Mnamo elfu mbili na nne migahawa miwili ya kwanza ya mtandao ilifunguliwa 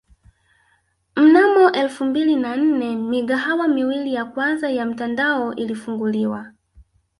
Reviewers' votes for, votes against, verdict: 2, 0, accepted